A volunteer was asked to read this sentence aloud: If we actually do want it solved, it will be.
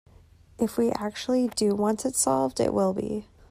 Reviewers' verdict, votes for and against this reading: accepted, 2, 0